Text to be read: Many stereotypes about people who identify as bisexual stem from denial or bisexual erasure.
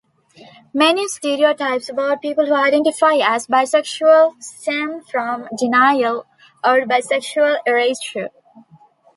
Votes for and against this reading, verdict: 2, 0, accepted